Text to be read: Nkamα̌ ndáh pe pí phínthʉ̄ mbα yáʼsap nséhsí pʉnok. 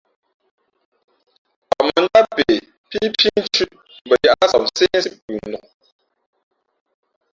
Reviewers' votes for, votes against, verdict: 1, 3, rejected